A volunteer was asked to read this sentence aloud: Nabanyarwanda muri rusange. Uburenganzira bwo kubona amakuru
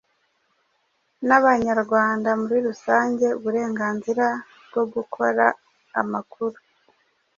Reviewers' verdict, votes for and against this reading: rejected, 1, 2